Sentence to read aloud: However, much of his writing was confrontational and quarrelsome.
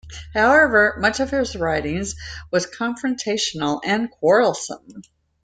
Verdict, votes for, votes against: rejected, 1, 2